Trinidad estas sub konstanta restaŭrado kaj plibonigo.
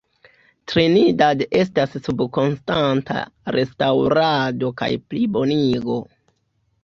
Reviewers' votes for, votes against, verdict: 1, 2, rejected